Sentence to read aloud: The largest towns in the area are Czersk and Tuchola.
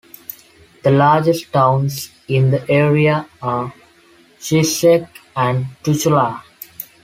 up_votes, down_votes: 0, 2